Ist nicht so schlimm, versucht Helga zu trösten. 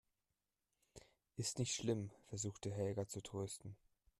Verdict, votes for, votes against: rejected, 0, 2